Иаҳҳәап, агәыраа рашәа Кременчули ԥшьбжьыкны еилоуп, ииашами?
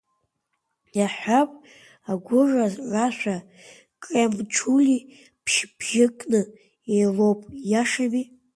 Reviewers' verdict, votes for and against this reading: rejected, 1, 2